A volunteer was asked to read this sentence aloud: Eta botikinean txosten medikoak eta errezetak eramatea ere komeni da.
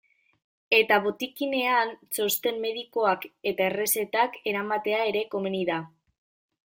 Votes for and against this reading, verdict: 2, 0, accepted